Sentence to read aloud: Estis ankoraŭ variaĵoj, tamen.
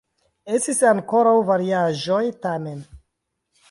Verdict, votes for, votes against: rejected, 1, 2